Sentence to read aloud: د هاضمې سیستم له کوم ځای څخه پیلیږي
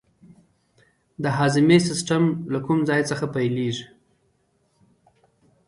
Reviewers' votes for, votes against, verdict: 2, 1, accepted